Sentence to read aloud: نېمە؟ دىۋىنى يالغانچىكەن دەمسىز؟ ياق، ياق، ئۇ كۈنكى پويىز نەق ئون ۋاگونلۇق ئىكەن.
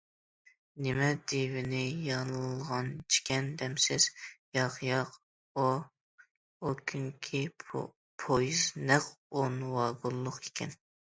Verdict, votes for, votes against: rejected, 0, 2